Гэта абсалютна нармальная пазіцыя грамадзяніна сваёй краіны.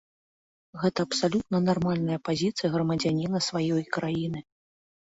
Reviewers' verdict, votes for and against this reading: accepted, 2, 0